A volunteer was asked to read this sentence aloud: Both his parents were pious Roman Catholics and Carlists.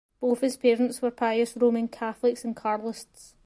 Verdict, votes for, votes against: accepted, 2, 0